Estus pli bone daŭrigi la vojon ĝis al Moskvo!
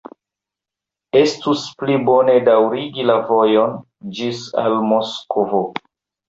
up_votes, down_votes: 2, 1